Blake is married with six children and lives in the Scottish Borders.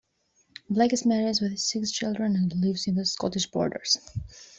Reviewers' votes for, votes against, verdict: 2, 0, accepted